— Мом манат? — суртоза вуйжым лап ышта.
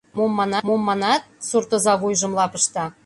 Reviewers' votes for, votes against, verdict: 1, 2, rejected